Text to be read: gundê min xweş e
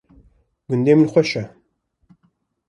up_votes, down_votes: 2, 0